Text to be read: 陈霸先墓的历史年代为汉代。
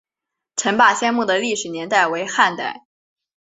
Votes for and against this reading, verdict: 3, 0, accepted